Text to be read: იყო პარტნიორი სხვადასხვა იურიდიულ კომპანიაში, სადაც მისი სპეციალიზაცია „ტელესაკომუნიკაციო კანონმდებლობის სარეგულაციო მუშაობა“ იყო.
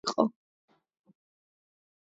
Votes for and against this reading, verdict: 4, 8, rejected